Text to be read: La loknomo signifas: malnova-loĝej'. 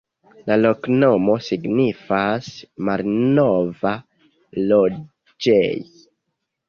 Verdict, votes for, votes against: accepted, 2, 0